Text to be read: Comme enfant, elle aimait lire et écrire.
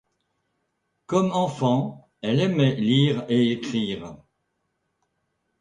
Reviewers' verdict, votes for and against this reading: accepted, 2, 0